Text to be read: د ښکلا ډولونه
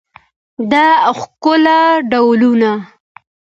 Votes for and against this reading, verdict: 2, 0, accepted